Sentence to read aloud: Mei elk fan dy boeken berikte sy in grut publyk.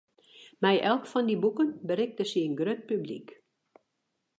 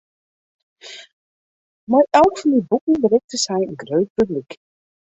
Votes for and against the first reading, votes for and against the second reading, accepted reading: 2, 0, 0, 2, first